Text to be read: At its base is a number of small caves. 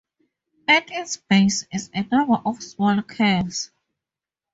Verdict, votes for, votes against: accepted, 2, 0